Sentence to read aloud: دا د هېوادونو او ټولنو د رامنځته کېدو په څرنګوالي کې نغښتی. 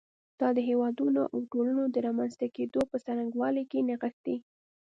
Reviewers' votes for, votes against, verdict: 0, 2, rejected